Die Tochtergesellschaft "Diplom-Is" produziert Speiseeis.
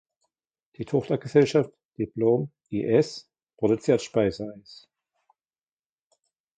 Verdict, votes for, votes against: rejected, 1, 2